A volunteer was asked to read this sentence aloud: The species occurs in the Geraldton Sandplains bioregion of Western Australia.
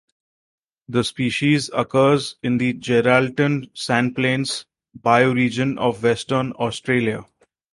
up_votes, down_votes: 4, 0